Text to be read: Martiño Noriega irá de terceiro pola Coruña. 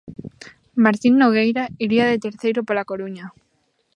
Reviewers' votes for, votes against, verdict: 0, 2, rejected